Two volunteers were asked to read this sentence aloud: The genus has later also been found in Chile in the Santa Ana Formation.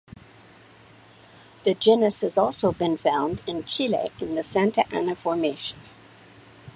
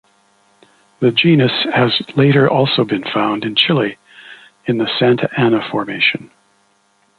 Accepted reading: second